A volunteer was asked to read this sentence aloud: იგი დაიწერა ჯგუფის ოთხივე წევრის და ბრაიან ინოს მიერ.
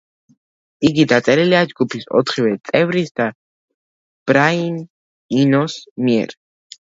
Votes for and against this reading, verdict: 0, 2, rejected